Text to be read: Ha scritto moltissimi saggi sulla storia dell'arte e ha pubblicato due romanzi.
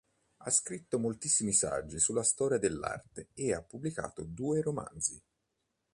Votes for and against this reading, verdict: 2, 0, accepted